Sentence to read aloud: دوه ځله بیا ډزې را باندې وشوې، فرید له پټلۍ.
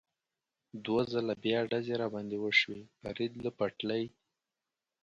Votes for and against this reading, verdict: 4, 0, accepted